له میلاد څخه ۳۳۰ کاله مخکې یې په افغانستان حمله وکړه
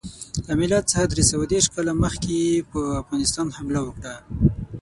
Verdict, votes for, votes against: rejected, 0, 2